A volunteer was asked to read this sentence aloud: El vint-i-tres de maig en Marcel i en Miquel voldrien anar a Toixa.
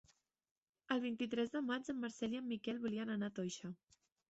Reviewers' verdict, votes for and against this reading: rejected, 0, 2